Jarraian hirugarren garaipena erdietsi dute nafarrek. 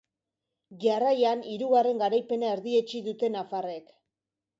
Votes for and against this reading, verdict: 2, 0, accepted